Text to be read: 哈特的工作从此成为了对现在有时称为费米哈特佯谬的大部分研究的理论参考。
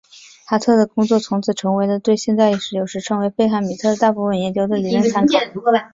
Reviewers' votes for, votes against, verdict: 4, 0, accepted